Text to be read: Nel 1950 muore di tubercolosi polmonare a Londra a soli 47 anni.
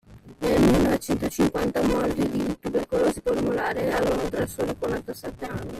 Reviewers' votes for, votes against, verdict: 0, 2, rejected